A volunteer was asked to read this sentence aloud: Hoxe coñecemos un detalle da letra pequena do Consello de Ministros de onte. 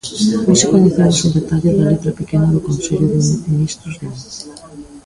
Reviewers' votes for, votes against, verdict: 0, 2, rejected